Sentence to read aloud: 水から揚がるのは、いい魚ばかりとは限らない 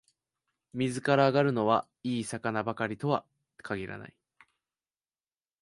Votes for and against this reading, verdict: 6, 1, accepted